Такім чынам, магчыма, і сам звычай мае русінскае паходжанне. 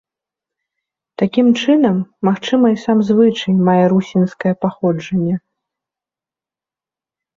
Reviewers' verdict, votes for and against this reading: accepted, 2, 0